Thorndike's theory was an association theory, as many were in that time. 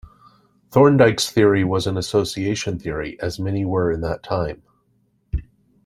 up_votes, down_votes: 2, 0